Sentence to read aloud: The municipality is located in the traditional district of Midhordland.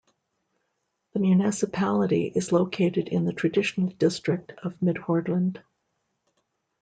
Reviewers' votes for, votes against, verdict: 2, 0, accepted